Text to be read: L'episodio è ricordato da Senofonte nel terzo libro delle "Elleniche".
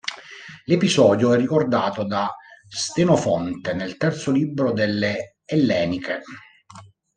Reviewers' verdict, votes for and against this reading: rejected, 1, 2